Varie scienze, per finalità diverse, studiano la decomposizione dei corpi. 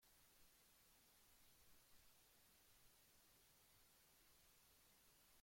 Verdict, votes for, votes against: rejected, 0, 2